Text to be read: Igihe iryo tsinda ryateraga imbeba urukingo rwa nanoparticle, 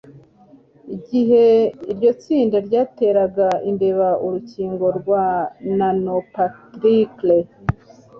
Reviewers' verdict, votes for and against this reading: accepted, 2, 1